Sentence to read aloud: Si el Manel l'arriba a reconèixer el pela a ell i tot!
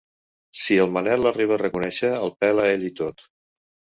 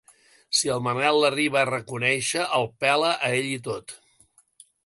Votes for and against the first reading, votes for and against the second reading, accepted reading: 1, 2, 2, 0, second